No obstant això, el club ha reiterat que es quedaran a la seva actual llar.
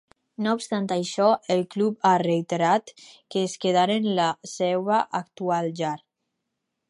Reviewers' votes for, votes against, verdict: 2, 2, rejected